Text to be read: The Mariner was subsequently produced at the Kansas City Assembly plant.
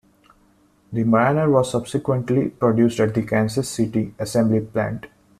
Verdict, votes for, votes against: accepted, 2, 0